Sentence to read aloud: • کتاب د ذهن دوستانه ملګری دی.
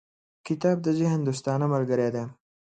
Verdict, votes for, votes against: accepted, 2, 0